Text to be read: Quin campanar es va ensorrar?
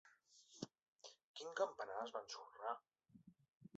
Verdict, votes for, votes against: accepted, 2, 0